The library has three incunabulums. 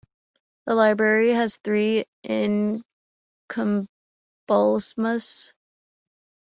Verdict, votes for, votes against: rejected, 1, 3